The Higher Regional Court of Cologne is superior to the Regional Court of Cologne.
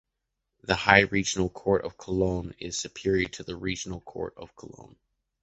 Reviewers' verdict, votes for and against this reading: rejected, 1, 2